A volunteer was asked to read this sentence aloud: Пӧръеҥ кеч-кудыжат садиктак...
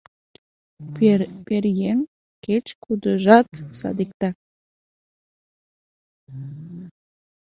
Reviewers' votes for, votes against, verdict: 0, 2, rejected